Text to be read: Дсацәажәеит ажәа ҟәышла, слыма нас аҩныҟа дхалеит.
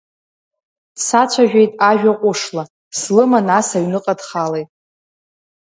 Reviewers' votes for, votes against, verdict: 2, 0, accepted